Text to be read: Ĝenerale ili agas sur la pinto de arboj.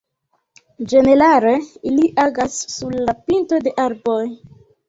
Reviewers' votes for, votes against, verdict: 1, 2, rejected